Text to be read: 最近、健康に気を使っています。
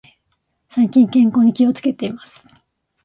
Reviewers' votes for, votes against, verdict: 0, 2, rejected